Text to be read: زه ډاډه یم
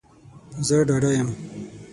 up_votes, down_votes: 0, 6